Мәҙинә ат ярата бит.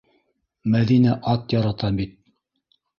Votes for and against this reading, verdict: 0, 2, rejected